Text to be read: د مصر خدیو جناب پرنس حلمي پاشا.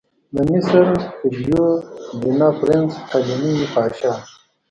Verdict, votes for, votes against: rejected, 1, 2